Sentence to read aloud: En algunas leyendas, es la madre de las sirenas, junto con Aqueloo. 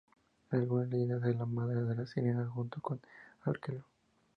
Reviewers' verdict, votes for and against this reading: accepted, 4, 0